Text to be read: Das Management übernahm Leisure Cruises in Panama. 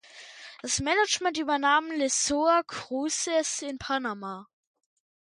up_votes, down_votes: 2, 1